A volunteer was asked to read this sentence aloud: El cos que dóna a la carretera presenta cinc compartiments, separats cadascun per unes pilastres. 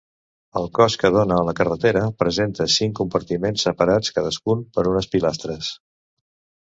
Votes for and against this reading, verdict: 2, 0, accepted